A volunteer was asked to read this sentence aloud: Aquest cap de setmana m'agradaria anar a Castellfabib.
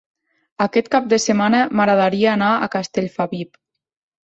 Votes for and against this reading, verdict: 3, 1, accepted